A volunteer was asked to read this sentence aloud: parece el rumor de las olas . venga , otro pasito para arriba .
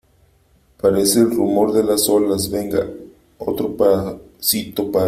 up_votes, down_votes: 0, 3